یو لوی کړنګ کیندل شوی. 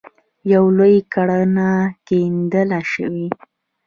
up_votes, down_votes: 0, 2